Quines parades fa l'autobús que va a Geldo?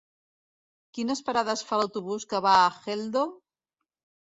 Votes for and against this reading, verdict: 0, 2, rejected